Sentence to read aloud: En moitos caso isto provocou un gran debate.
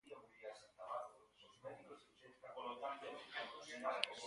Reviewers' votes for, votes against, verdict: 2, 4, rejected